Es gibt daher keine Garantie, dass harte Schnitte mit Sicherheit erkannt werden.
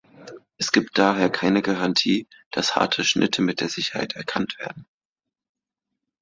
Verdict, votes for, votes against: rejected, 0, 3